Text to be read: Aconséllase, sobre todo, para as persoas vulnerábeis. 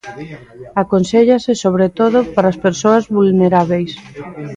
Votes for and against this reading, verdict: 1, 2, rejected